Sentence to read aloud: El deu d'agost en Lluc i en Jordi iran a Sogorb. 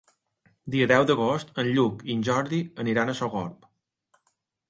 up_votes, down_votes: 0, 2